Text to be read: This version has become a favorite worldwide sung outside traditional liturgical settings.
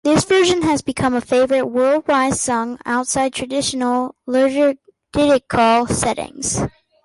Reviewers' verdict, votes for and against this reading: rejected, 0, 2